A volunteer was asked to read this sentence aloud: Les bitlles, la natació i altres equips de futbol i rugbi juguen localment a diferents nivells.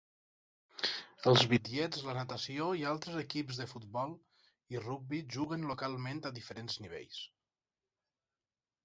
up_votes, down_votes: 0, 4